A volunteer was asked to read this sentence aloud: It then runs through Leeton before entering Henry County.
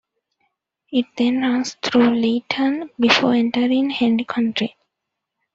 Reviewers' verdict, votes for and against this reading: rejected, 1, 2